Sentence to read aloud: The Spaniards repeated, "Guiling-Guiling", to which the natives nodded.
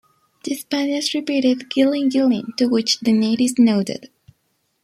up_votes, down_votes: 2, 1